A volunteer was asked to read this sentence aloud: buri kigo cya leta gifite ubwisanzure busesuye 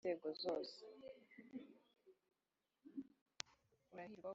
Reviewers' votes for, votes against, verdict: 1, 2, rejected